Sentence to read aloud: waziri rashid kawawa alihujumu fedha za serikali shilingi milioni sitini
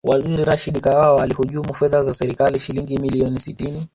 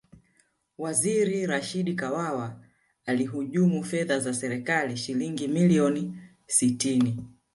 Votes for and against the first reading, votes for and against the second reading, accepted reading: 2, 0, 1, 2, first